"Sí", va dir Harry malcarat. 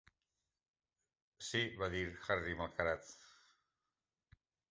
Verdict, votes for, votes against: accepted, 2, 0